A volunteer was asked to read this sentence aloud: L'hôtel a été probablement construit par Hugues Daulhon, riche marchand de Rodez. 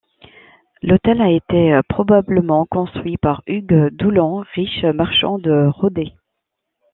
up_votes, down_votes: 1, 2